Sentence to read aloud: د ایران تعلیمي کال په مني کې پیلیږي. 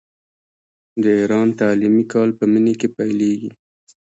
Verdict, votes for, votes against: rejected, 1, 2